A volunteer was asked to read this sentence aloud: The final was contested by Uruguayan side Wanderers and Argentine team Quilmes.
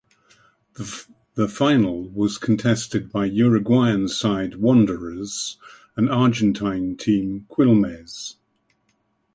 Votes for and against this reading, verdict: 2, 2, rejected